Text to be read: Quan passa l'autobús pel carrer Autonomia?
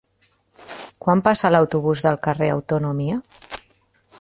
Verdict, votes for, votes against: rejected, 1, 2